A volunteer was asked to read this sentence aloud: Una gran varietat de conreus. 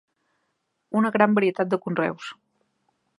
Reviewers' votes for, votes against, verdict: 4, 0, accepted